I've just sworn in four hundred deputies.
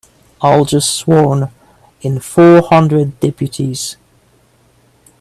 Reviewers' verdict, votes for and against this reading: rejected, 2, 3